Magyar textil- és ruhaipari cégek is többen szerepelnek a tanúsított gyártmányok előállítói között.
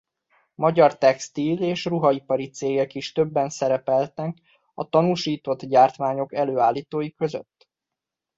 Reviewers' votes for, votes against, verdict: 1, 2, rejected